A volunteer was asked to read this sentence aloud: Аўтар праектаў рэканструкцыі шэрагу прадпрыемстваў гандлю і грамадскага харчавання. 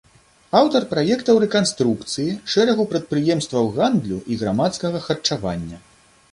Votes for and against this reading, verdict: 2, 0, accepted